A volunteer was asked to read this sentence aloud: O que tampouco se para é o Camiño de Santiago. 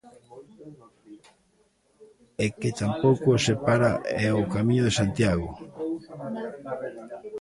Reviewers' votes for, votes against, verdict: 0, 3, rejected